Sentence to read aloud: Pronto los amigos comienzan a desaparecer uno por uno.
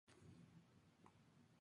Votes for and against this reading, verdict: 0, 2, rejected